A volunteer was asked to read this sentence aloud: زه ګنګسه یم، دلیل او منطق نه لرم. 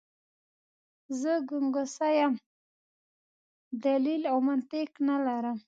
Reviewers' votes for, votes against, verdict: 2, 1, accepted